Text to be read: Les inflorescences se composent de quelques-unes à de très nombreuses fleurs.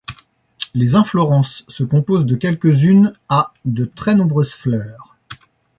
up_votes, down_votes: 0, 2